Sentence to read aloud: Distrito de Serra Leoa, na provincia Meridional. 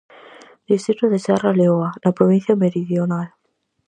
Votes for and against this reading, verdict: 4, 0, accepted